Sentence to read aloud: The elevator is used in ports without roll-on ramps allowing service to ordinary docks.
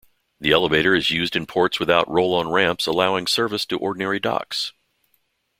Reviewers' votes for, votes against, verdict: 2, 0, accepted